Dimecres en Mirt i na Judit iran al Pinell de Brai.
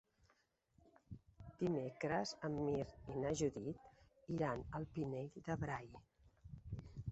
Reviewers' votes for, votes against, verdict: 6, 1, accepted